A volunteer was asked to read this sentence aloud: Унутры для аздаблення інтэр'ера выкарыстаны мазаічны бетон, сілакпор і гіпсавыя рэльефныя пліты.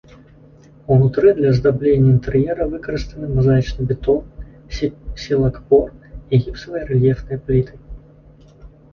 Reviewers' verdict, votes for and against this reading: rejected, 1, 2